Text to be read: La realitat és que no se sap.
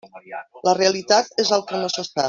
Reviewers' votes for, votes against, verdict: 1, 2, rejected